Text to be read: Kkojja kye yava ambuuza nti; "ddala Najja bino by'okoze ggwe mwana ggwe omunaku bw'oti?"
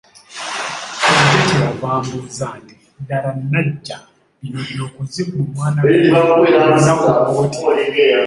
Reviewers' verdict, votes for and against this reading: rejected, 1, 2